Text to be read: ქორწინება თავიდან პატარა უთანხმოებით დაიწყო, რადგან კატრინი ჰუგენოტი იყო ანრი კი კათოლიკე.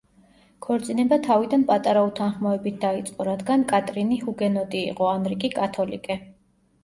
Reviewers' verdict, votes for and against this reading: accepted, 2, 0